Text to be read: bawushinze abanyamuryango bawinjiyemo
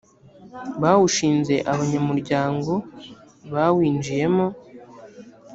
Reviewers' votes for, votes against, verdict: 3, 0, accepted